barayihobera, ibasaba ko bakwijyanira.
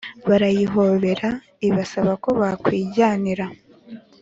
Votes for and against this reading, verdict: 2, 0, accepted